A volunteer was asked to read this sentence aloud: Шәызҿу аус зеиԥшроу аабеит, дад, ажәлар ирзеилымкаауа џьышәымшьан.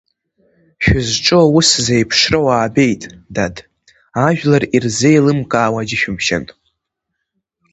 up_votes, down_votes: 2, 0